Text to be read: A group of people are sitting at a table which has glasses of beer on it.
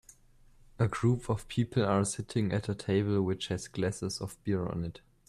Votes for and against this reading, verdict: 2, 0, accepted